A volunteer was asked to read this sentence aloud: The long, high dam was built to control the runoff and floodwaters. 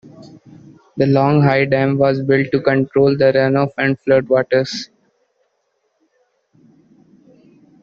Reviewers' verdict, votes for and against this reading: accepted, 2, 0